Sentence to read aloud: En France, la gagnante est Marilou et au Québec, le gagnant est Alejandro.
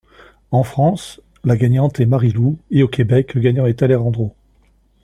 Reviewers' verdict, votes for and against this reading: accepted, 2, 1